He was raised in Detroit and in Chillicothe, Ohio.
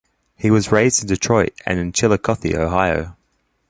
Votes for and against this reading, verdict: 2, 0, accepted